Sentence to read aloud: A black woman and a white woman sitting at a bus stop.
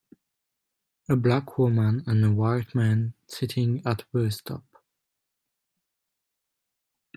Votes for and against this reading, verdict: 0, 2, rejected